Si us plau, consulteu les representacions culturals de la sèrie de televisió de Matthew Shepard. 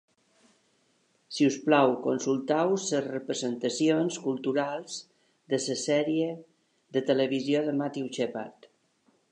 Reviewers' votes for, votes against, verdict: 1, 2, rejected